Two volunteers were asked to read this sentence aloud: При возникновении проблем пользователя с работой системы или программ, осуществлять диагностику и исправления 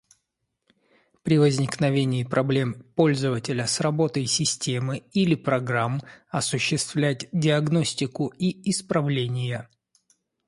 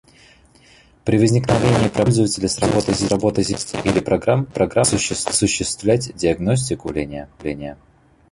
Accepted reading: first